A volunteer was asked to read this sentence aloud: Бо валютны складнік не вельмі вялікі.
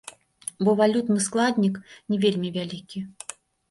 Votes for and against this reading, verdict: 1, 2, rejected